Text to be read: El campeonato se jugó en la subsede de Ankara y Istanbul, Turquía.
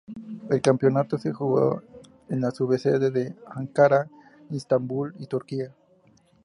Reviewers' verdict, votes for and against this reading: accepted, 2, 0